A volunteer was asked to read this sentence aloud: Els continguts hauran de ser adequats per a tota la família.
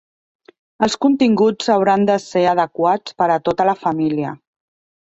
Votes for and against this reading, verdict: 6, 0, accepted